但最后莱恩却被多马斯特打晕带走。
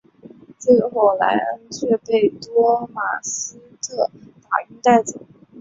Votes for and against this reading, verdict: 2, 3, rejected